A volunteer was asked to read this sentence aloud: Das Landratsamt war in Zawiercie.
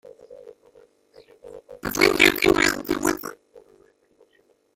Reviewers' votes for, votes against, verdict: 0, 2, rejected